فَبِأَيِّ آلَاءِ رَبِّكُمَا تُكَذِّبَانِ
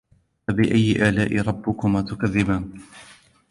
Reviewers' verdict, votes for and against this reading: accepted, 2, 1